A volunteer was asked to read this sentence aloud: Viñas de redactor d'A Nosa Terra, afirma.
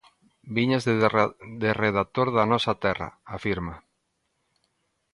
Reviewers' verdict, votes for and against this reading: rejected, 0, 2